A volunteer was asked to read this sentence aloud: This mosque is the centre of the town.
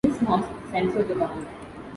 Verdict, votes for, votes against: rejected, 1, 2